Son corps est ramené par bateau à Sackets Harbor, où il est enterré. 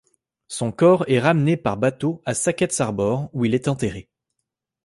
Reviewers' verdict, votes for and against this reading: accepted, 2, 0